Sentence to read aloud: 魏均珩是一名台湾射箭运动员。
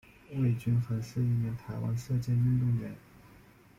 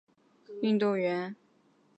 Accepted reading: first